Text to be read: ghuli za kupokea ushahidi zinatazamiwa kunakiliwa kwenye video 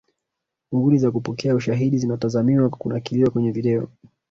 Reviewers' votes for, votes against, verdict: 1, 2, rejected